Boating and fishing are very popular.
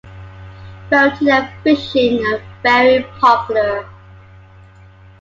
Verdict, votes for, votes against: accepted, 2, 0